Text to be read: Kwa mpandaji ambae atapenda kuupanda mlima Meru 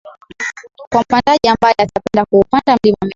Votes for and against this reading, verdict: 0, 3, rejected